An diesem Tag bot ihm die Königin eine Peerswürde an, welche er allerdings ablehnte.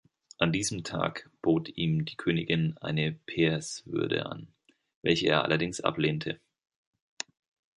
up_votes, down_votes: 2, 0